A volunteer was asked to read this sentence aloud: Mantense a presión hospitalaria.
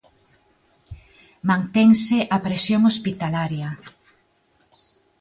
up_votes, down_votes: 2, 0